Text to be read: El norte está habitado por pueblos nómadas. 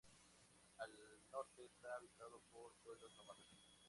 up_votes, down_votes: 0, 2